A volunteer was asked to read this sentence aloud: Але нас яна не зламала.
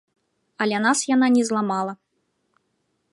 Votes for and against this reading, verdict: 2, 1, accepted